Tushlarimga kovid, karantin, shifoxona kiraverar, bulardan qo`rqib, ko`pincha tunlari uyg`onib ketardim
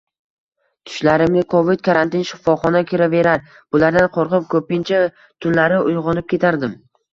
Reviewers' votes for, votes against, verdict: 2, 0, accepted